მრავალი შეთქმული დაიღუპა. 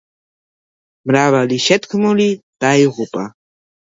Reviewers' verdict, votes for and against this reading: accepted, 2, 0